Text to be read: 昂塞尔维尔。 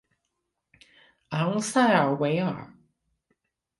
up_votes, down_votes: 2, 0